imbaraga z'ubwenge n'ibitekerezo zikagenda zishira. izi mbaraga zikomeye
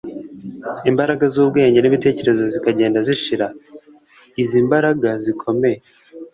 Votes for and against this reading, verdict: 2, 0, accepted